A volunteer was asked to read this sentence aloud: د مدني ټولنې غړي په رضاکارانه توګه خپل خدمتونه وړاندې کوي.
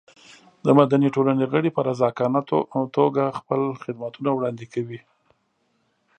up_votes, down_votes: 5, 1